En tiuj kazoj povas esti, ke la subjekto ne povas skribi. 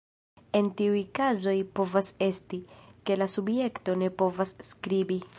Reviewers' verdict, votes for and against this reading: rejected, 1, 2